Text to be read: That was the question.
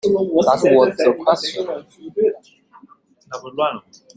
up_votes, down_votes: 0, 2